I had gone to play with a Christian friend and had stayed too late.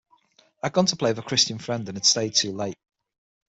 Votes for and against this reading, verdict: 3, 6, rejected